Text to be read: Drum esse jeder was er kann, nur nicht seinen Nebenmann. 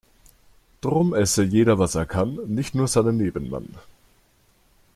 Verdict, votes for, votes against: rejected, 1, 4